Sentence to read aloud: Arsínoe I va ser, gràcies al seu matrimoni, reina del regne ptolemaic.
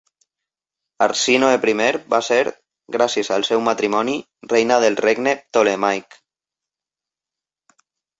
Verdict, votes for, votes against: accepted, 2, 0